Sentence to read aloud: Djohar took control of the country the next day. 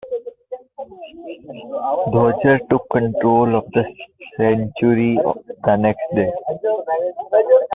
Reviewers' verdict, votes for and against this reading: rejected, 0, 2